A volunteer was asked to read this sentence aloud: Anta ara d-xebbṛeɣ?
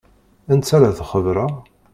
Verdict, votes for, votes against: rejected, 1, 2